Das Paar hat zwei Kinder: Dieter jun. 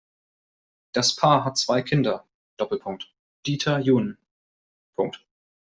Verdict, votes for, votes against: rejected, 0, 2